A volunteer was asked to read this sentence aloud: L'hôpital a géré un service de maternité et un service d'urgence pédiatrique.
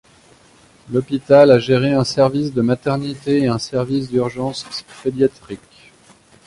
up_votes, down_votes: 1, 2